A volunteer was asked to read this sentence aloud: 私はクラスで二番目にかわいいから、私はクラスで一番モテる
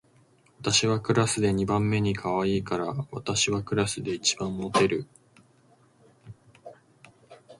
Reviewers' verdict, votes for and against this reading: rejected, 1, 2